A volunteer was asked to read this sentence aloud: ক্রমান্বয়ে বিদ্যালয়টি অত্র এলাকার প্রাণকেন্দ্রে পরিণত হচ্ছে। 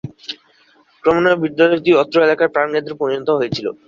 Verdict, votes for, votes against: rejected, 5, 13